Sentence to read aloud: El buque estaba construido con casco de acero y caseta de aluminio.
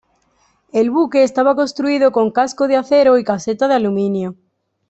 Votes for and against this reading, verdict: 2, 0, accepted